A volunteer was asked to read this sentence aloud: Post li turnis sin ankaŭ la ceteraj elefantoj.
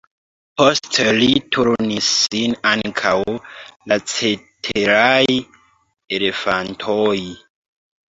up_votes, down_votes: 0, 2